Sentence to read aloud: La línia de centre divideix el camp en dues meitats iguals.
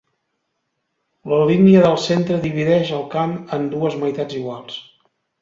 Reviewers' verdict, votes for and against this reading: rejected, 0, 2